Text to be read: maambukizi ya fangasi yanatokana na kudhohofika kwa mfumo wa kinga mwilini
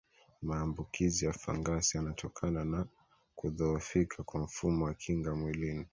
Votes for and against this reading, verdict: 2, 0, accepted